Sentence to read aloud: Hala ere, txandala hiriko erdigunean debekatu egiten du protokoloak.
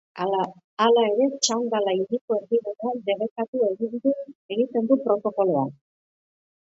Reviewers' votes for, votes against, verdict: 0, 2, rejected